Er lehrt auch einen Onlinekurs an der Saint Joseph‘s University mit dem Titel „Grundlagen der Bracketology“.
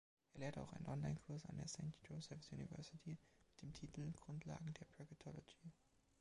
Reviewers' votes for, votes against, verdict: 2, 0, accepted